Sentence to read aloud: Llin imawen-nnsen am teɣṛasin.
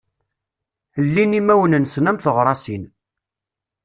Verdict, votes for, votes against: accepted, 2, 0